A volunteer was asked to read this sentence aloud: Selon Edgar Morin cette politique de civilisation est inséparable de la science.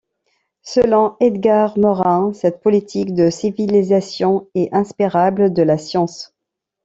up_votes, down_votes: 0, 2